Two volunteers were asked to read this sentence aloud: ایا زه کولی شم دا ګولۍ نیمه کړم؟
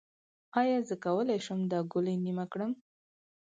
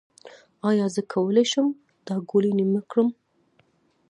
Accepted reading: first